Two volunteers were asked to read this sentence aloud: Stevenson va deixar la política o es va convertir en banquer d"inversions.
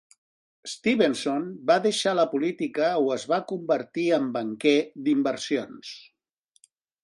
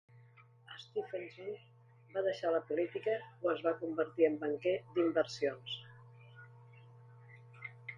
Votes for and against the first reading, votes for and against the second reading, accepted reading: 4, 0, 0, 2, first